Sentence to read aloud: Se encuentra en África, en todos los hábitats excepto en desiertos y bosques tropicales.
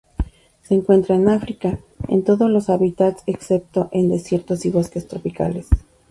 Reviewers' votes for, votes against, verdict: 2, 0, accepted